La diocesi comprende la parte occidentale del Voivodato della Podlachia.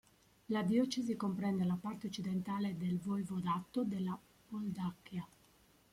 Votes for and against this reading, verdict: 1, 2, rejected